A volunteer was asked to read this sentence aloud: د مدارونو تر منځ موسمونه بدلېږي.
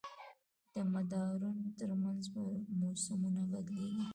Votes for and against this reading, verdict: 1, 2, rejected